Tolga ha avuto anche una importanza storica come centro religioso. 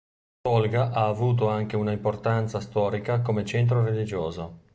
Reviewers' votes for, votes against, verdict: 2, 0, accepted